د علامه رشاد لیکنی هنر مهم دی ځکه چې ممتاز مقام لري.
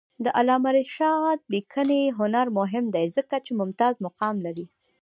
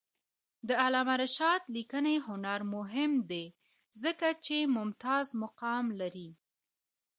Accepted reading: second